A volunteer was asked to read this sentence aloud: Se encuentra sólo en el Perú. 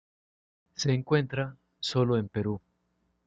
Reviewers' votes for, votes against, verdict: 0, 2, rejected